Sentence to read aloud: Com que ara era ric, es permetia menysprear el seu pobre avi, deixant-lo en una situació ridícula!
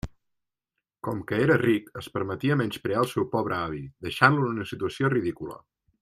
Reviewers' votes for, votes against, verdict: 0, 2, rejected